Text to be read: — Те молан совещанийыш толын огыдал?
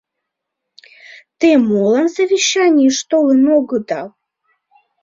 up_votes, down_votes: 1, 2